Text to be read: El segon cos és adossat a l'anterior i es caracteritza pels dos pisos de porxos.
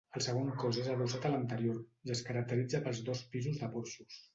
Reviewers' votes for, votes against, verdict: 1, 2, rejected